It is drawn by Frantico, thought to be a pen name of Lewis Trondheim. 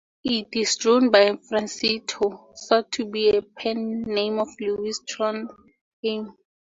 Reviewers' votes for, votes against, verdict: 0, 2, rejected